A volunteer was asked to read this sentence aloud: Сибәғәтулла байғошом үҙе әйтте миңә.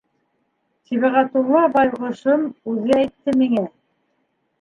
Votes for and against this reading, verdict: 0, 2, rejected